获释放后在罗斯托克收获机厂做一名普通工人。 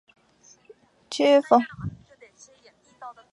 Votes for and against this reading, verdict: 0, 3, rejected